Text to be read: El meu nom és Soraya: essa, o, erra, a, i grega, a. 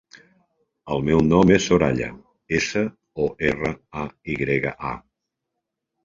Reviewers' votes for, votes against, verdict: 2, 0, accepted